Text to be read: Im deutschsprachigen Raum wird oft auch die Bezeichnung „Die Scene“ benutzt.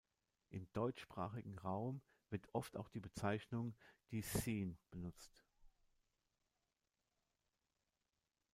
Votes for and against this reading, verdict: 0, 2, rejected